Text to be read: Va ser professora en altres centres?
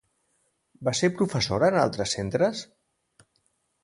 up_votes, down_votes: 2, 0